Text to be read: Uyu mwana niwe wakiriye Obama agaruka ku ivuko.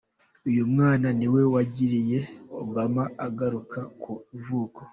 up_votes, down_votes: 1, 2